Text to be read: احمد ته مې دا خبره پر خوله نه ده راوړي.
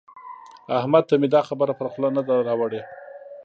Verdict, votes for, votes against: rejected, 1, 2